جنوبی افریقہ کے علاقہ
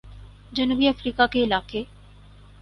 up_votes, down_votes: 4, 0